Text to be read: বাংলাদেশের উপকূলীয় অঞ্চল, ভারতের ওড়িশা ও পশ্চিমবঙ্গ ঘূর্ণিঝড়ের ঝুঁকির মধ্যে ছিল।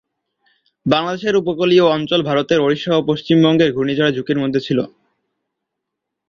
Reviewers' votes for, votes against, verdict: 6, 0, accepted